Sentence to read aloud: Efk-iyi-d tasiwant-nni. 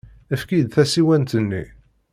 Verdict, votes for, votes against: accepted, 2, 0